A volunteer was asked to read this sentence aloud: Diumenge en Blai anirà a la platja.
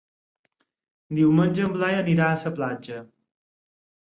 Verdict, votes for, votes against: accepted, 4, 0